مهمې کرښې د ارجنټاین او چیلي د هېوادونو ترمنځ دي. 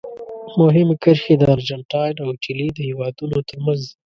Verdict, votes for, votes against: rejected, 1, 2